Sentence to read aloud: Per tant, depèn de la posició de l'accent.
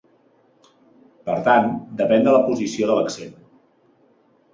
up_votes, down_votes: 4, 0